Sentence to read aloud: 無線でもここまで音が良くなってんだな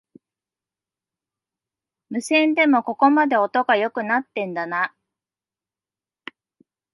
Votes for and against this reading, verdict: 2, 0, accepted